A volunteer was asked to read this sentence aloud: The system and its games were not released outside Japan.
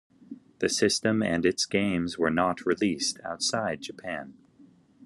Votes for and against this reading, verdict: 2, 0, accepted